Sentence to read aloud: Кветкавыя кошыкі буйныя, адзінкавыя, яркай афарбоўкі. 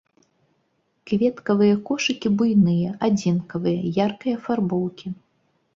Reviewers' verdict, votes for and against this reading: accepted, 2, 0